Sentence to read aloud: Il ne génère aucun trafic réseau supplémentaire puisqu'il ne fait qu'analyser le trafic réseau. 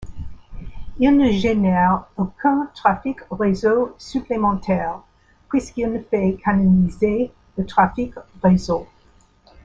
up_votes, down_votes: 1, 2